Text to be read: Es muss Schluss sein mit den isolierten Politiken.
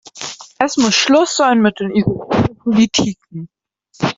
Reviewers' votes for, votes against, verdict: 0, 2, rejected